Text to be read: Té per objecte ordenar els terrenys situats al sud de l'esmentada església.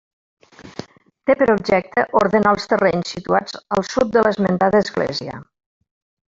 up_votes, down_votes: 1, 2